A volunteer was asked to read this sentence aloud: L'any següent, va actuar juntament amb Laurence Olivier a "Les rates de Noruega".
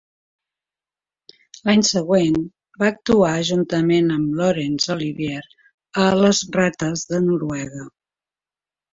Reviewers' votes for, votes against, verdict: 2, 0, accepted